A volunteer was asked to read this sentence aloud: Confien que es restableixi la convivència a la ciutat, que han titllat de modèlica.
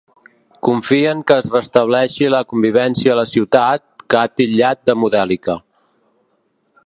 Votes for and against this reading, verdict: 0, 3, rejected